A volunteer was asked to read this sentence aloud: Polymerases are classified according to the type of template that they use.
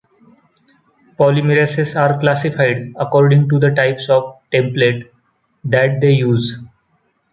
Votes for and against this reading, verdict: 0, 2, rejected